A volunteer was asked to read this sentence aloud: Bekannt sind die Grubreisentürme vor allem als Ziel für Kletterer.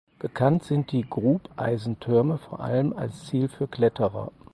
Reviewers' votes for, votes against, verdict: 0, 4, rejected